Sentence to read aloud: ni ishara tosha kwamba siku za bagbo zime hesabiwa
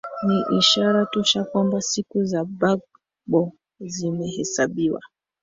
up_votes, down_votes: 0, 2